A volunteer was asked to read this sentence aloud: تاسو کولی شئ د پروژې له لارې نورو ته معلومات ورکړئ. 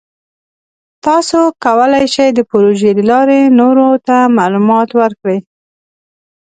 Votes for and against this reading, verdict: 2, 0, accepted